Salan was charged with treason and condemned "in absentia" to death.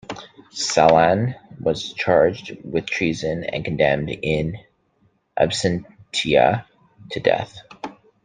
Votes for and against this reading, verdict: 0, 2, rejected